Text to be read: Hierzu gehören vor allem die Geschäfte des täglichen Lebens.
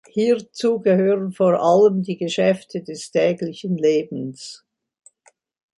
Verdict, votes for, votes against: accepted, 2, 0